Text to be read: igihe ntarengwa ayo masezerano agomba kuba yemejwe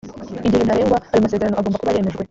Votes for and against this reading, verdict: 2, 1, accepted